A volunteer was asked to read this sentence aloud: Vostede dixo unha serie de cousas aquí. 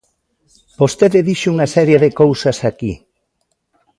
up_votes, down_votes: 2, 0